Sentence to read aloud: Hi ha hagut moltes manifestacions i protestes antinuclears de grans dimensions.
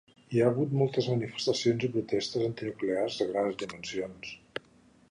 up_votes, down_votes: 1, 2